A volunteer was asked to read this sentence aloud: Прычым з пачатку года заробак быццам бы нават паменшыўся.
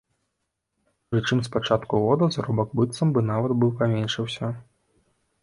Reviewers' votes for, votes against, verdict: 2, 0, accepted